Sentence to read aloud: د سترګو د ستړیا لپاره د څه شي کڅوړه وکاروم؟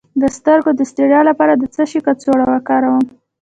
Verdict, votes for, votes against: accepted, 2, 0